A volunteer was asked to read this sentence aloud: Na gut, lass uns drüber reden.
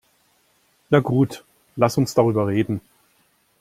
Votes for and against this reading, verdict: 1, 2, rejected